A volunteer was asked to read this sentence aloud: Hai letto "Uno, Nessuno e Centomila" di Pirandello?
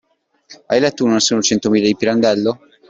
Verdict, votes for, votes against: accepted, 2, 0